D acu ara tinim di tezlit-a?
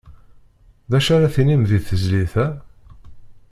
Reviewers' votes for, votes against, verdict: 2, 0, accepted